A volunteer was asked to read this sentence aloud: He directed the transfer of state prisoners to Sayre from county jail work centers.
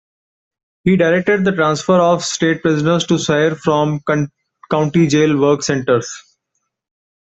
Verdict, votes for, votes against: rejected, 1, 2